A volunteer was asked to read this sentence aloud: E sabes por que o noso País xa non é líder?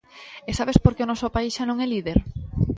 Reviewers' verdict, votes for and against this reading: accepted, 2, 0